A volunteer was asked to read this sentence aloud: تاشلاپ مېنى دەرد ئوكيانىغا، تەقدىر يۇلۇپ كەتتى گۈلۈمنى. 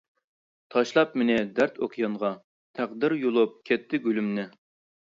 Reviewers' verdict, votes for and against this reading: rejected, 1, 2